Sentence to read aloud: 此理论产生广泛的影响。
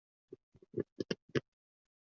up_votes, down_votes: 0, 4